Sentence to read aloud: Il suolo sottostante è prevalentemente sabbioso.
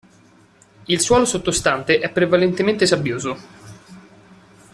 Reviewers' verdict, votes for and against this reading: accepted, 2, 0